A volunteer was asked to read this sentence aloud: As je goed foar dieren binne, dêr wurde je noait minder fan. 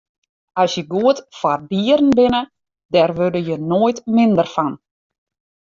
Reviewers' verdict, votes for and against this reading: accepted, 2, 0